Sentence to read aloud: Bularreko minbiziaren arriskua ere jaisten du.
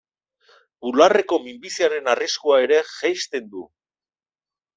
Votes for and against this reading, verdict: 2, 0, accepted